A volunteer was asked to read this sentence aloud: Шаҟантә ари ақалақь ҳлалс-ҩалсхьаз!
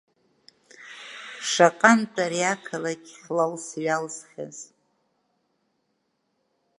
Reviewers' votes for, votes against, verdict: 2, 0, accepted